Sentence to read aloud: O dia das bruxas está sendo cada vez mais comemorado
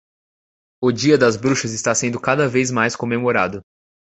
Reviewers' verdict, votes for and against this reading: accepted, 2, 0